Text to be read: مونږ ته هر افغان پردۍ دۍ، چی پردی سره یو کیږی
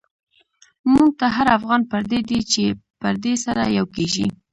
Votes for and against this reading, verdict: 1, 2, rejected